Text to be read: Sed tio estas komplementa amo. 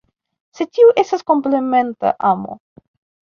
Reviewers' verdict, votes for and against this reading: accepted, 2, 0